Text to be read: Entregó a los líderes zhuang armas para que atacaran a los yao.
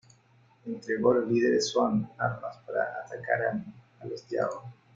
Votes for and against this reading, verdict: 1, 2, rejected